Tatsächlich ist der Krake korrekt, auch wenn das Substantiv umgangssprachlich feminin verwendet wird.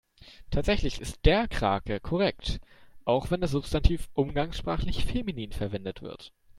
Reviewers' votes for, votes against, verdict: 2, 0, accepted